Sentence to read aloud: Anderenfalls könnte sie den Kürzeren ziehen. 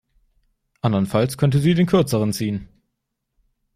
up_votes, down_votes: 0, 2